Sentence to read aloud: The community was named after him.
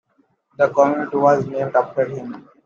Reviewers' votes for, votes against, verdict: 2, 1, accepted